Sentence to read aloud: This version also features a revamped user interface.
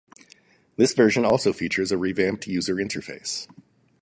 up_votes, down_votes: 0, 2